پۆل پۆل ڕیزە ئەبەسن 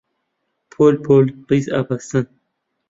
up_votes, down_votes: 0, 2